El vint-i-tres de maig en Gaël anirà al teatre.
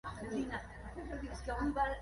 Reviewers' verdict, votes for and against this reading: rejected, 0, 2